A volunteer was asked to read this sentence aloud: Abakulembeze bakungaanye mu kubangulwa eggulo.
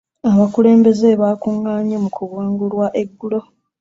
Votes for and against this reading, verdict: 0, 2, rejected